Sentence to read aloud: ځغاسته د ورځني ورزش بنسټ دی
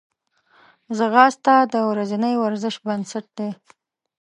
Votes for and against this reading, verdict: 2, 0, accepted